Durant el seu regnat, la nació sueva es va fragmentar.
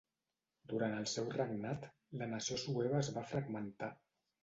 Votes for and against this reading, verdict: 2, 0, accepted